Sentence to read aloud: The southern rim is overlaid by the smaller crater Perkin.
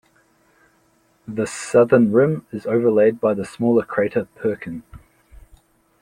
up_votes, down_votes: 2, 0